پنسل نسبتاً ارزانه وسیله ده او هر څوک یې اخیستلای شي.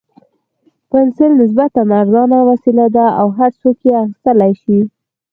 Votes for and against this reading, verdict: 4, 2, accepted